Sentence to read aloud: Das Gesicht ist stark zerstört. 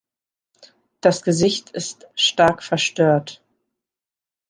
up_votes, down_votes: 0, 2